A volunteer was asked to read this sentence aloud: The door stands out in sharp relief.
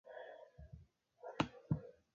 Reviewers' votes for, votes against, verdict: 0, 2, rejected